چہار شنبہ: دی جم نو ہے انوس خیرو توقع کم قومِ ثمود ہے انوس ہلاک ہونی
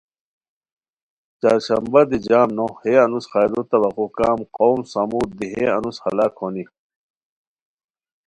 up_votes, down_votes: 2, 0